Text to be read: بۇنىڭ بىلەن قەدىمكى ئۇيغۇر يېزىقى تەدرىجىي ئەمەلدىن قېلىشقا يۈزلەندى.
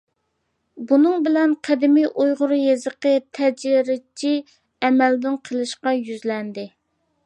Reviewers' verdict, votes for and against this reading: rejected, 0, 2